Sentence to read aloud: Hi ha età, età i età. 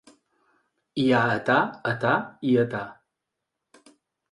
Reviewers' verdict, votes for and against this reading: accepted, 2, 0